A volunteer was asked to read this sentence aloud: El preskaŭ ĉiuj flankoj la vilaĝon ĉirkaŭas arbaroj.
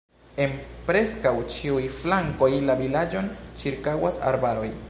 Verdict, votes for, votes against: rejected, 0, 2